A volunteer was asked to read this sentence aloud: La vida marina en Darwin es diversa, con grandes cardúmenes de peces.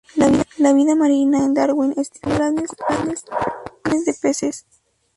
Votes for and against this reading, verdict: 0, 2, rejected